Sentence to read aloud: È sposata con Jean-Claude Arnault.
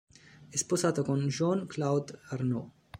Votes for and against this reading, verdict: 1, 2, rejected